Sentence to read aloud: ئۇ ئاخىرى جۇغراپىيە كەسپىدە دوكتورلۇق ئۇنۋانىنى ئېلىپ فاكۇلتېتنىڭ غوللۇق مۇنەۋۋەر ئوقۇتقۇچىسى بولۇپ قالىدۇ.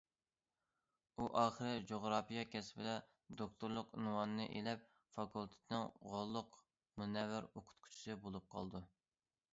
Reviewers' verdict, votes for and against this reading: accepted, 2, 0